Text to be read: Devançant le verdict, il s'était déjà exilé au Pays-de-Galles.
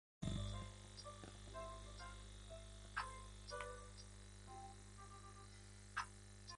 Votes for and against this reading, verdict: 0, 2, rejected